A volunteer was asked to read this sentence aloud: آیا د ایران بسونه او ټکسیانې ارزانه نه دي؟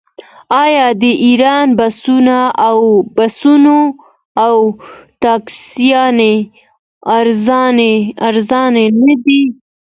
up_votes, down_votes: 1, 2